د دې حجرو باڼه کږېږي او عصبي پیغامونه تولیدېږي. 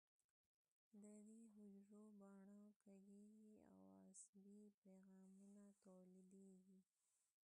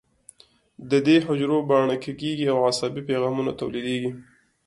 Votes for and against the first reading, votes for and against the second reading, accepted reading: 0, 2, 2, 0, second